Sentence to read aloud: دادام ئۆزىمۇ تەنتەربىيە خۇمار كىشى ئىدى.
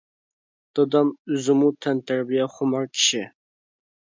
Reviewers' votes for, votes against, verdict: 0, 2, rejected